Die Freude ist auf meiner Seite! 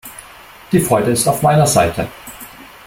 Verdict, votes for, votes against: accepted, 2, 0